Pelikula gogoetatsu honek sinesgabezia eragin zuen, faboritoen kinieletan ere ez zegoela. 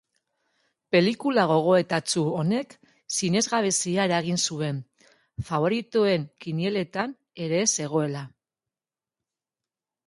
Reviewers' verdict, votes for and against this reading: accepted, 2, 0